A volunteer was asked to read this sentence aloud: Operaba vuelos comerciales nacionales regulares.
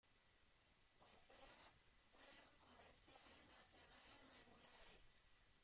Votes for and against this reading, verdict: 0, 2, rejected